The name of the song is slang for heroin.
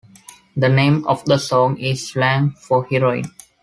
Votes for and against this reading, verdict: 2, 0, accepted